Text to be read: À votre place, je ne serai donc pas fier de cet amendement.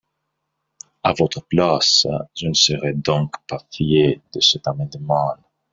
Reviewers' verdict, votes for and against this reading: rejected, 0, 2